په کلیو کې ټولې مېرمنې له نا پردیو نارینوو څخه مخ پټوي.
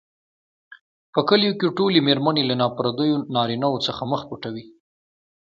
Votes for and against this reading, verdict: 2, 0, accepted